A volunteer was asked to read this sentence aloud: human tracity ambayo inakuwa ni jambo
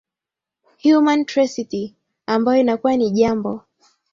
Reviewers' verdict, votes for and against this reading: rejected, 0, 2